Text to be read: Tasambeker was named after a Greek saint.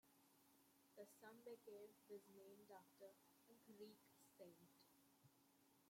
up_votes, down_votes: 0, 2